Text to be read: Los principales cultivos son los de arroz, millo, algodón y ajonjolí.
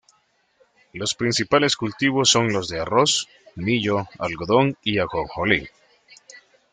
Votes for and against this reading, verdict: 2, 1, accepted